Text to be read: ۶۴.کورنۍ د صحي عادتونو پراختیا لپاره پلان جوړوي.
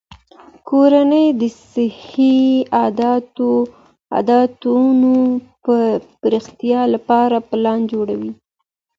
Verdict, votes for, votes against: rejected, 0, 2